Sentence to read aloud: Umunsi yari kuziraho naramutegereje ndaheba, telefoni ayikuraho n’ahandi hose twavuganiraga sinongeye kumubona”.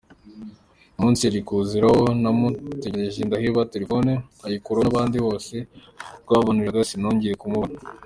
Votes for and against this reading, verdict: 3, 1, accepted